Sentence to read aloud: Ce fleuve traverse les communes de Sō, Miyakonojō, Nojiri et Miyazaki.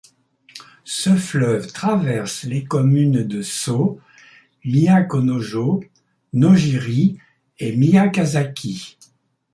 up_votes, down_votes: 0, 2